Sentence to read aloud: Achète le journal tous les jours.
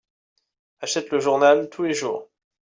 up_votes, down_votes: 2, 0